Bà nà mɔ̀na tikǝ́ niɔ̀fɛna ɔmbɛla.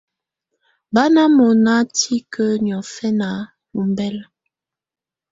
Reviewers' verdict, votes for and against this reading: accepted, 2, 0